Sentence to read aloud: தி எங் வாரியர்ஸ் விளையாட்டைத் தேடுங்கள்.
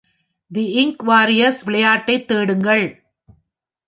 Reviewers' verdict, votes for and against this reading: accepted, 2, 1